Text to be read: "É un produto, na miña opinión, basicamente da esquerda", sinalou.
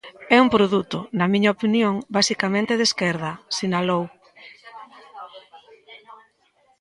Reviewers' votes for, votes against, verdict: 0, 2, rejected